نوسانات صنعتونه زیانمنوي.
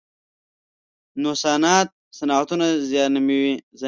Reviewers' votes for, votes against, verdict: 0, 2, rejected